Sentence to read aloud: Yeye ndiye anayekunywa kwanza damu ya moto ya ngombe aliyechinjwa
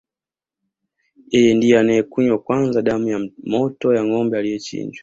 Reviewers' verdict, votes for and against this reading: accepted, 2, 0